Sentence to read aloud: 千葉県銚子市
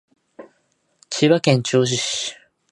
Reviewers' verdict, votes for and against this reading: accepted, 2, 0